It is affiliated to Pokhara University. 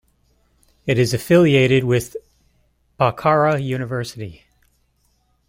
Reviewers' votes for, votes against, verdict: 0, 2, rejected